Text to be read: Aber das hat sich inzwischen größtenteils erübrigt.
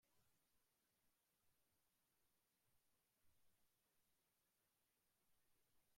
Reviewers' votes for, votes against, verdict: 0, 2, rejected